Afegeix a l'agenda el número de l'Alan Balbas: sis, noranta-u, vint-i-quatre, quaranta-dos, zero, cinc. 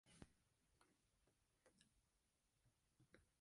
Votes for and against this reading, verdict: 0, 2, rejected